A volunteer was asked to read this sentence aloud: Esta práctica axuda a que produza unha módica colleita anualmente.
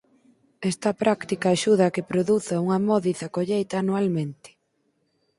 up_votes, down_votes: 0, 4